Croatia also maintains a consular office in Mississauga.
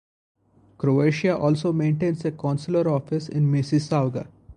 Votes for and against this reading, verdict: 0, 2, rejected